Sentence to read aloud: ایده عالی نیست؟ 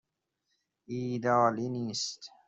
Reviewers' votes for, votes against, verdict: 0, 2, rejected